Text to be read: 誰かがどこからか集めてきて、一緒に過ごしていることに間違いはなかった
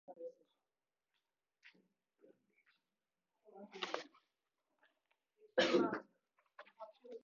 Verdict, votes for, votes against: rejected, 1, 4